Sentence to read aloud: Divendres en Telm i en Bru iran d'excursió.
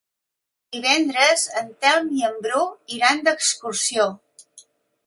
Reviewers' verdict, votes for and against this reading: accepted, 2, 0